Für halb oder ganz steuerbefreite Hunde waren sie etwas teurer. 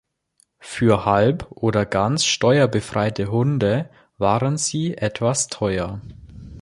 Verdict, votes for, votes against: rejected, 0, 2